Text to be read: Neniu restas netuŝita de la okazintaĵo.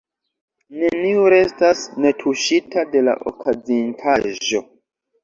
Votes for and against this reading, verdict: 2, 1, accepted